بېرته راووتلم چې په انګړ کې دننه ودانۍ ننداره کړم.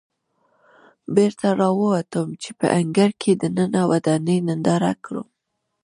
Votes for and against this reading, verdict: 2, 1, accepted